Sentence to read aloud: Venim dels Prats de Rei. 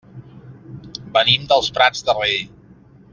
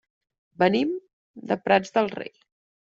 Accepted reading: first